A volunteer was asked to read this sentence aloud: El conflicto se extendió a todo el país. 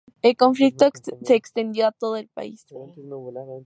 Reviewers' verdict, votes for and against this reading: rejected, 2, 2